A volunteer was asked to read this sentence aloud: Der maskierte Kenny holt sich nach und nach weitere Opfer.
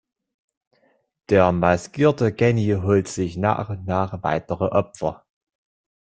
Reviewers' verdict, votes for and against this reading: rejected, 1, 2